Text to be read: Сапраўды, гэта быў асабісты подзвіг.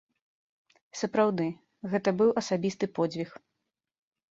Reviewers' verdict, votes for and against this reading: accepted, 2, 0